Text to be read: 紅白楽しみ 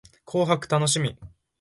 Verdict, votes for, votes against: accepted, 2, 0